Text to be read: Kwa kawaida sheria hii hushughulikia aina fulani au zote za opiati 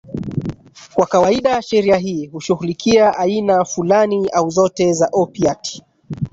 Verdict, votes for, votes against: rejected, 1, 2